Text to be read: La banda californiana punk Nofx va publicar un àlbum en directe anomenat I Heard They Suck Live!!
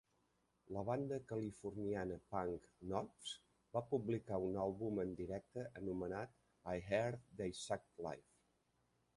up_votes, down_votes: 0, 2